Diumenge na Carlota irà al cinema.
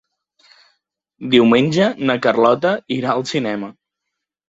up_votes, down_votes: 4, 0